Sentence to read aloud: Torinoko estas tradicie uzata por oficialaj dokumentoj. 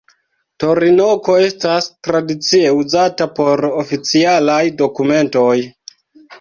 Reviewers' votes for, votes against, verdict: 3, 2, accepted